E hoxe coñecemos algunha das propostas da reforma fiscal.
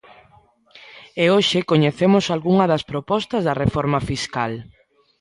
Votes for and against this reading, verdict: 2, 0, accepted